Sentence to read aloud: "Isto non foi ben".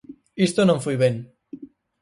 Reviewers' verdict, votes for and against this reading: accepted, 4, 0